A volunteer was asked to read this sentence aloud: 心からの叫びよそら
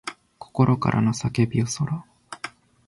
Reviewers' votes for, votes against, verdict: 2, 0, accepted